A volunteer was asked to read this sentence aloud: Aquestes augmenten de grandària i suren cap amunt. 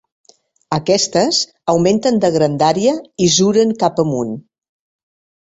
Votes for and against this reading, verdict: 1, 2, rejected